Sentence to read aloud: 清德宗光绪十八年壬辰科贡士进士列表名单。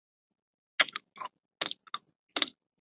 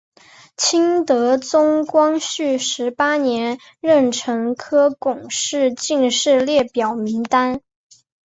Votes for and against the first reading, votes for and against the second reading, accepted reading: 1, 2, 5, 2, second